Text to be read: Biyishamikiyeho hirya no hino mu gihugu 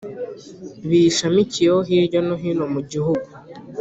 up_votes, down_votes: 2, 0